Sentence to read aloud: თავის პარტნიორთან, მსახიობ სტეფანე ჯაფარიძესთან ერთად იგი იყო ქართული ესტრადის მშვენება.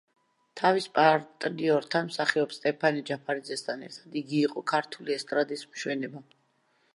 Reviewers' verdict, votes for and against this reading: rejected, 0, 2